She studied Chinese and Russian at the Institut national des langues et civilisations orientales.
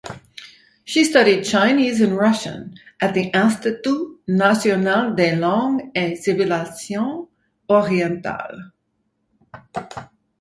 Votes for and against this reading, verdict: 4, 0, accepted